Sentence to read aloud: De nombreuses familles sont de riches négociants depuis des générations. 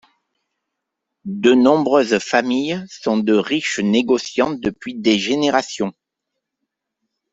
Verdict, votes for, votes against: accepted, 2, 0